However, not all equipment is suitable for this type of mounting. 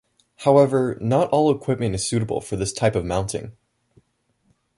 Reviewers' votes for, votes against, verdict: 2, 0, accepted